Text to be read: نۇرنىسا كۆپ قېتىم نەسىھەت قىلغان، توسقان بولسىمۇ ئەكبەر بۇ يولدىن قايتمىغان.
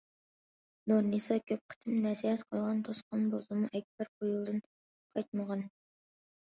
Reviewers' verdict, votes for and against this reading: accepted, 2, 0